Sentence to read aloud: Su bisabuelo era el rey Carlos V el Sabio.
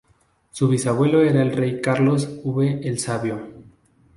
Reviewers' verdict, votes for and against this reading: rejected, 2, 2